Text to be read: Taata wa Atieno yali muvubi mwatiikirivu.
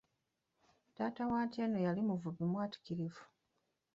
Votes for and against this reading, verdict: 1, 2, rejected